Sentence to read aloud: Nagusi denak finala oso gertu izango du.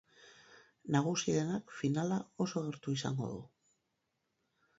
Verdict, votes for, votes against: rejected, 2, 2